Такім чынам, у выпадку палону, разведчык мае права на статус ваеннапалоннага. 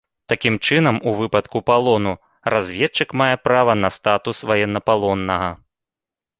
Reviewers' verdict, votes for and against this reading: accepted, 2, 0